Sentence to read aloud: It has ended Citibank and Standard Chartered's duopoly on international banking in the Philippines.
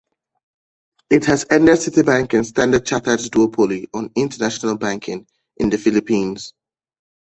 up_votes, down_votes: 1, 2